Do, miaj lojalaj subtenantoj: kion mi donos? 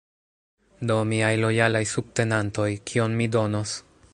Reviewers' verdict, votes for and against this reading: accepted, 2, 0